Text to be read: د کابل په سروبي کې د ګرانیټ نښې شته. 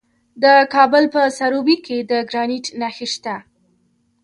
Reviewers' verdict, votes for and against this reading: accepted, 2, 1